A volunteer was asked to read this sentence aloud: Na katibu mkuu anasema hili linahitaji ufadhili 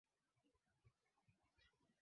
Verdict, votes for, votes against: rejected, 0, 2